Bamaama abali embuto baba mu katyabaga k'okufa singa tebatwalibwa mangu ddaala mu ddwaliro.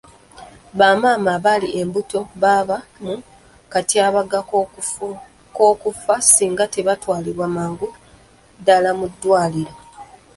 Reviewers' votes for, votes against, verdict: 1, 2, rejected